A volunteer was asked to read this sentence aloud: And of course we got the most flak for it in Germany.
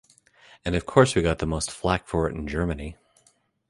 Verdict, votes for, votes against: accepted, 2, 1